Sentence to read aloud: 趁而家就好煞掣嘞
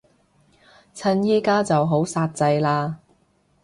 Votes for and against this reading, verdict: 1, 2, rejected